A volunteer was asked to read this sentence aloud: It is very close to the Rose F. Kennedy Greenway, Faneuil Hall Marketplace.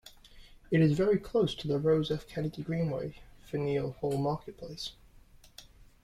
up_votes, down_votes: 1, 2